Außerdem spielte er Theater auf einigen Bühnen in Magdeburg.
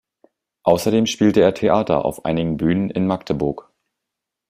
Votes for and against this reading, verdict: 2, 0, accepted